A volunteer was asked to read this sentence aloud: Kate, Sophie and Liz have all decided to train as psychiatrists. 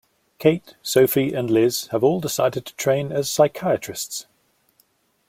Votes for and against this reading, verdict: 2, 0, accepted